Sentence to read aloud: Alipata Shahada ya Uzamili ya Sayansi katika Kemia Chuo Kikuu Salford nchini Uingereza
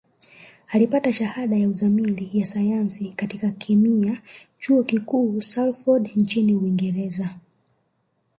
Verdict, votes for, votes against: rejected, 1, 2